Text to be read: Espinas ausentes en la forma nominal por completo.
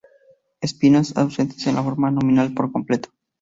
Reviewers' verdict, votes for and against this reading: accepted, 2, 0